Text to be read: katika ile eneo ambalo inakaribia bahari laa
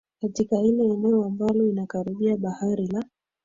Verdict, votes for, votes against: rejected, 2, 3